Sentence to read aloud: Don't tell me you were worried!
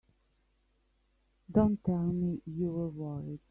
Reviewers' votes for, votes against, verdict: 2, 1, accepted